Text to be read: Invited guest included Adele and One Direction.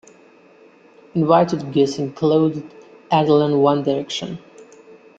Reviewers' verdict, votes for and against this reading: rejected, 1, 2